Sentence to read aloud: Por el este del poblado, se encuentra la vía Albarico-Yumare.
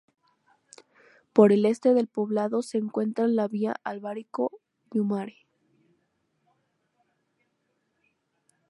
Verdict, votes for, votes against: accepted, 4, 0